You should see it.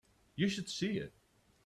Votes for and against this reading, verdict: 2, 0, accepted